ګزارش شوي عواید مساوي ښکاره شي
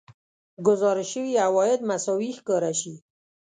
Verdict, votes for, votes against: accepted, 2, 0